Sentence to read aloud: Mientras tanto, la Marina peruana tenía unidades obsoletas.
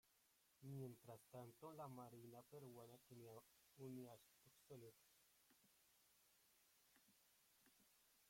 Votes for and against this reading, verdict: 1, 2, rejected